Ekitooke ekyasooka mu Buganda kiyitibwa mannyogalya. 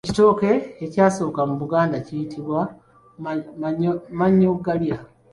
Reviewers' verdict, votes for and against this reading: rejected, 0, 2